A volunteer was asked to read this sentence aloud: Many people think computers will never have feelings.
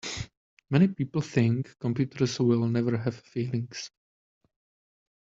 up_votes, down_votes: 0, 2